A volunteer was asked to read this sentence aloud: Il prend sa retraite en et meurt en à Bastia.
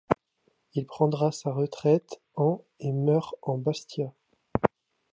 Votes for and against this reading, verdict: 0, 2, rejected